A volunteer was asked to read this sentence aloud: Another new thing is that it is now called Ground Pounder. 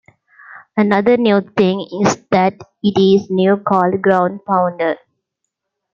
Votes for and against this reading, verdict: 2, 0, accepted